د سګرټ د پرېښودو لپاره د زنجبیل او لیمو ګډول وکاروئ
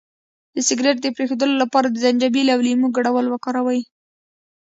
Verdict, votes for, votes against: accepted, 2, 0